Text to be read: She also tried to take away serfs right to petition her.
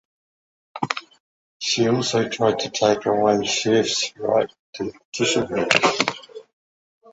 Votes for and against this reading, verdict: 0, 2, rejected